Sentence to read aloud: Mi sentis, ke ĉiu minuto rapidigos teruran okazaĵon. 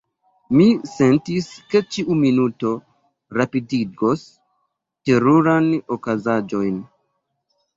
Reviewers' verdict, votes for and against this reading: rejected, 0, 2